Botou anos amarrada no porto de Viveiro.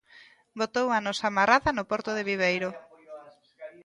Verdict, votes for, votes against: rejected, 1, 2